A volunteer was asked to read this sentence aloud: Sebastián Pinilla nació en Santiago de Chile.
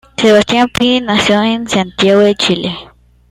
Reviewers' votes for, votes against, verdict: 1, 2, rejected